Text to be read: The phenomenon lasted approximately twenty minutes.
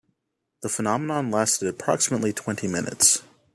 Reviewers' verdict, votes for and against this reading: accepted, 2, 0